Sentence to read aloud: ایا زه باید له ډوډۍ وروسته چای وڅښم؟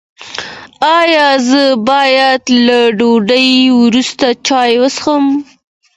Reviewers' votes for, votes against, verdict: 2, 1, accepted